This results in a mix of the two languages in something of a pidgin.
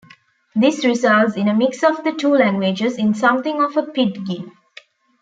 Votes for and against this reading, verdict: 1, 2, rejected